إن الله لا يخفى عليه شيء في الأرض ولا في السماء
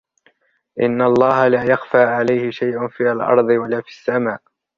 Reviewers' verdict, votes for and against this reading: rejected, 1, 2